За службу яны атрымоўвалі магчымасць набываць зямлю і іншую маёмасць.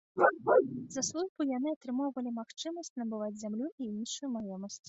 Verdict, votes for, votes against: rejected, 1, 2